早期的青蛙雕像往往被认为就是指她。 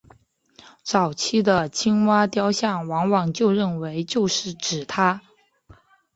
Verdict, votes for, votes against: accepted, 2, 0